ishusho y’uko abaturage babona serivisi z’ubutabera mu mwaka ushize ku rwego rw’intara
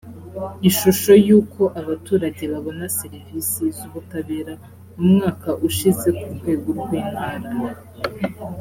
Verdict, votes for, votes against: accepted, 2, 0